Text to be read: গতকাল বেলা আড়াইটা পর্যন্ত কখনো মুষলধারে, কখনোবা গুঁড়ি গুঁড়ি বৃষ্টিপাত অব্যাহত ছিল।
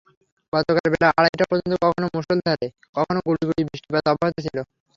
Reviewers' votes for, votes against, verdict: 3, 0, accepted